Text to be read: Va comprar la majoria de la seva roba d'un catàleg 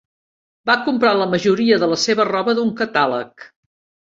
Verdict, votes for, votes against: accepted, 2, 0